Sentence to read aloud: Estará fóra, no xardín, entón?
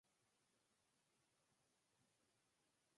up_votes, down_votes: 0, 4